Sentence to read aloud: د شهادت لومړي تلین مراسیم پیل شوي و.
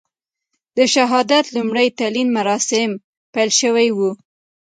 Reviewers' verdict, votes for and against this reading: accepted, 2, 0